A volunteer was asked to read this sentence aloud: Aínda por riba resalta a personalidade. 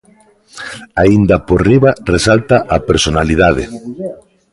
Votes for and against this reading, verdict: 1, 2, rejected